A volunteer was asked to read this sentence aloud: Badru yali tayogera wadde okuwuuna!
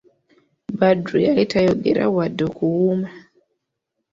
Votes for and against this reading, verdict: 2, 0, accepted